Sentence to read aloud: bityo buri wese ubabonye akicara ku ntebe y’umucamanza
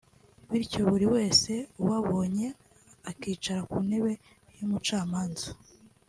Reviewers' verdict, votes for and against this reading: accepted, 2, 0